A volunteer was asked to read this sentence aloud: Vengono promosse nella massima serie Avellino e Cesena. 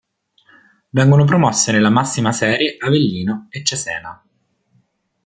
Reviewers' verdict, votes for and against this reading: accepted, 2, 0